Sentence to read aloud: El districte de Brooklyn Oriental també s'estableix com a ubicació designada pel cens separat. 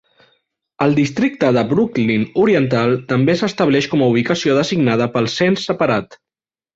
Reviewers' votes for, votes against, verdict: 3, 0, accepted